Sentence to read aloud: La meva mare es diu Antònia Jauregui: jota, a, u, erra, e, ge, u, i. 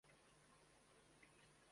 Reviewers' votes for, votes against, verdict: 0, 2, rejected